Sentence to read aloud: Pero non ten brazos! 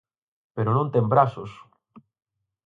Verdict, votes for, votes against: accepted, 4, 0